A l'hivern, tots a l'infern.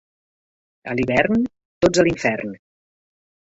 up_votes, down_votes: 2, 0